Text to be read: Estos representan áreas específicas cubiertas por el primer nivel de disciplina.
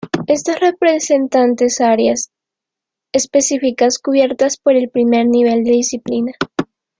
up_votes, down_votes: 0, 2